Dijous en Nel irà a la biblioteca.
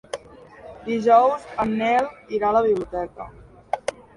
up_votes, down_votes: 3, 2